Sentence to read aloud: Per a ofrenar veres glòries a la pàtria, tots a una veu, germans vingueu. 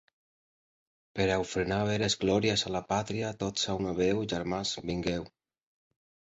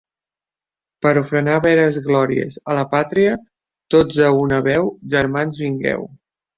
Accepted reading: second